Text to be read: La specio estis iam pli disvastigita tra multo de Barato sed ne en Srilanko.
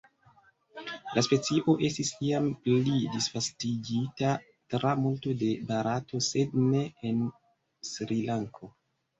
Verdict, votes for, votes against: accepted, 2, 1